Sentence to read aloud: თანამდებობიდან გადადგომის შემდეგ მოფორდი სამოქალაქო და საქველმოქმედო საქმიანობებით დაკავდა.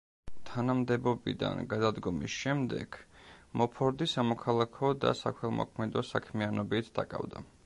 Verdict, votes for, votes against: rejected, 1, 2